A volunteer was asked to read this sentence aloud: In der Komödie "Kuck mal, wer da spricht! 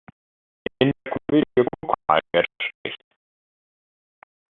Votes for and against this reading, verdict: 0, 2, rejected